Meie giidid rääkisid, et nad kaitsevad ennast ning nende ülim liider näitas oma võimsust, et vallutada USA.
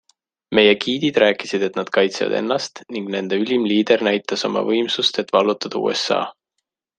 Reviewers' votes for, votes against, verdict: 2, 0, accepted